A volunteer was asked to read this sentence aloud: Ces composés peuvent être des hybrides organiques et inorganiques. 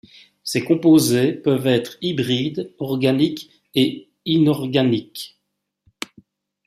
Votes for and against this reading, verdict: 0, 2, rejected